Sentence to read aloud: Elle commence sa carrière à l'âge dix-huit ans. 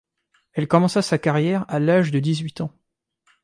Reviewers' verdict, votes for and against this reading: accepted, 2, 1